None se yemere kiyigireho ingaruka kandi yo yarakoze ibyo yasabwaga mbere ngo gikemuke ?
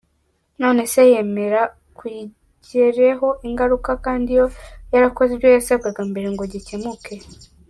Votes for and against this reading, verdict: 1, 2, rejected